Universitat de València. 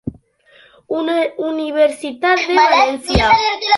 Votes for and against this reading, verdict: 0, 2, rejected